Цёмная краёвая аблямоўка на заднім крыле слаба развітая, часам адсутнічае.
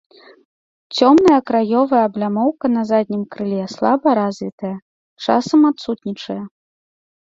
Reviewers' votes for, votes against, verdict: 2, 0, accepted